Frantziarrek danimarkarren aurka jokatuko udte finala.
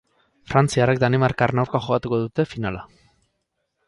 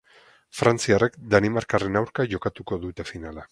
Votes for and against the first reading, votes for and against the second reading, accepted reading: 4, 0, 2, 4, first